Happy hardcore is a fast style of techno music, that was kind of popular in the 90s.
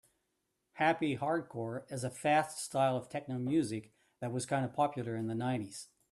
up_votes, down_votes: 0, 2